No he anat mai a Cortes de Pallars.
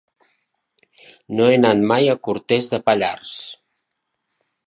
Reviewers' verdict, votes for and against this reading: rejected, 1, 2